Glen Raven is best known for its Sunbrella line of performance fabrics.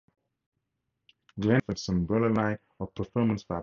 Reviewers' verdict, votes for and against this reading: rejected, 2, 4